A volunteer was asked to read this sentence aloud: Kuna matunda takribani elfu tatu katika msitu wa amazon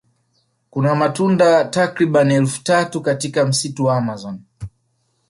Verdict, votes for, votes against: rejected, 1, 2